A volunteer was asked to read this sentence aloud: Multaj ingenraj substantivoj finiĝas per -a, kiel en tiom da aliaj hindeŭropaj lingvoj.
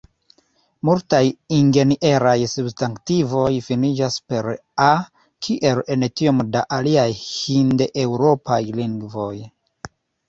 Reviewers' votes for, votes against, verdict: 2, 1, accepted